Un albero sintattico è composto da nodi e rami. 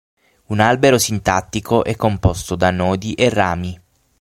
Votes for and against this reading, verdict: 6, 0, accepted